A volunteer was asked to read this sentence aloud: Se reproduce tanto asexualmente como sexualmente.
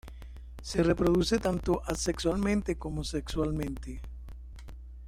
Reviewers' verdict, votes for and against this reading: accepted, 2, 1